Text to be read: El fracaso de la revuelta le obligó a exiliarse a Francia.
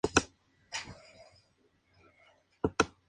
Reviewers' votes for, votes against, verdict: 0, 2, rejected